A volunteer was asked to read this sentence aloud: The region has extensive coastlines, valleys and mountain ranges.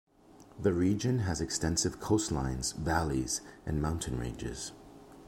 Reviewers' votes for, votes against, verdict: 2, 0, accepted